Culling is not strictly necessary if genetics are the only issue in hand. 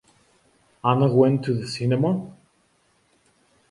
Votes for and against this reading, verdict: 0, 2, rejected